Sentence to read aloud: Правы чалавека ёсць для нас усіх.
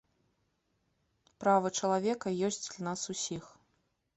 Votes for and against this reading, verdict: 0, 2, rejected